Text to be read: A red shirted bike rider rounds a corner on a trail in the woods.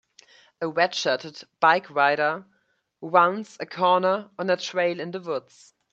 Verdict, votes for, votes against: accepted, 2, 1